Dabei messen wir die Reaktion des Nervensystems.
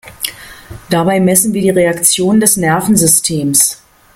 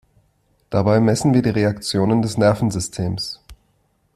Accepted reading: first